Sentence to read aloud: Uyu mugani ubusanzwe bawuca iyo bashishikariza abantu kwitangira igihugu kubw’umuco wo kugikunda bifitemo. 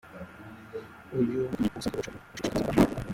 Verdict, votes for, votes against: rejected, 0, 2